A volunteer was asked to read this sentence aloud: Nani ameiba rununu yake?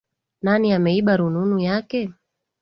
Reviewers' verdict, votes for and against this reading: accepted, 2, 1